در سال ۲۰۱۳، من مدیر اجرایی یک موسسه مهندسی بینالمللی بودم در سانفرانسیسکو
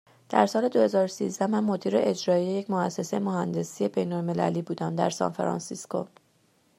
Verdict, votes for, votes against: rejected, 0, 2